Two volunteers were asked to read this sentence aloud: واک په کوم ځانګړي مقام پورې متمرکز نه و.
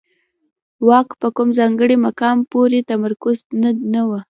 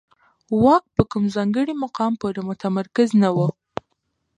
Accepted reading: second